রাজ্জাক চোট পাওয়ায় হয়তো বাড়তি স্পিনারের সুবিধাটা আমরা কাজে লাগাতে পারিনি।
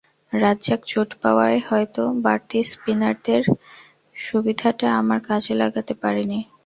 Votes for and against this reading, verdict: 2, 0, accepted